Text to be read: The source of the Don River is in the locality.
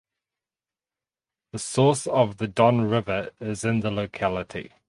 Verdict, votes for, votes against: rejected, 2, 2